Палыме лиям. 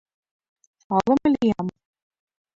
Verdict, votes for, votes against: rejected, 1, 2